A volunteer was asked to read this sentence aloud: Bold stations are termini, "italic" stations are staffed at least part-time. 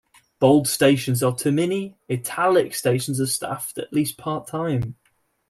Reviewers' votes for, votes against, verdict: 1, 2, rejected